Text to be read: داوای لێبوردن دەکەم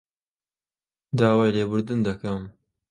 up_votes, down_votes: 5, 1